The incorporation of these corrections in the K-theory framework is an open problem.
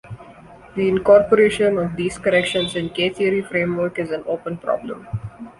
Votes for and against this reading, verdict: 1, 4, rejected